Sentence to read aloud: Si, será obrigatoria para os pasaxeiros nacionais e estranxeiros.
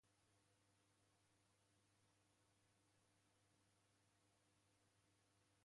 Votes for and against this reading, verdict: 0, 2, rejected